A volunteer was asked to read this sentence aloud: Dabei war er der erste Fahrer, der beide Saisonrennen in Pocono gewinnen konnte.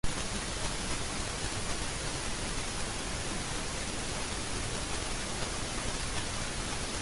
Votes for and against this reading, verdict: 0, 2, rejected